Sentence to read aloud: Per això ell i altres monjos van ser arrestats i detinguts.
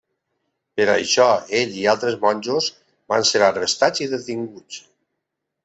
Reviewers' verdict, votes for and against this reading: accepted, 2, 0